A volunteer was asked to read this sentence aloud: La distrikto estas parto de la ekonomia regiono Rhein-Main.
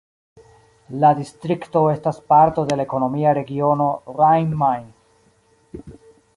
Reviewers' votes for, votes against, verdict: 2, 1, accepted